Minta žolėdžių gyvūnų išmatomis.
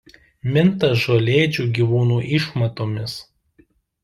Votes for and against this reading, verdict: 2, 0, accepted